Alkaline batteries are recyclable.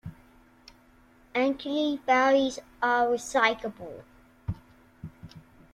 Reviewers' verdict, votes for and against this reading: rejected, 1, 2